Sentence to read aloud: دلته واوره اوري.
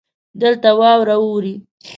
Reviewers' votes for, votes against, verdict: 2, 0, accepted